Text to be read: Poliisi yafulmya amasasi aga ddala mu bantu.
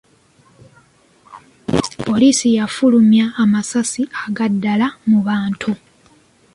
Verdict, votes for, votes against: accepted, 2, 1